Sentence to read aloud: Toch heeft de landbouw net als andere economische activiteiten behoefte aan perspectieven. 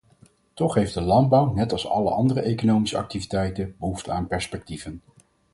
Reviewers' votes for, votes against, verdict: 0, 4, rejected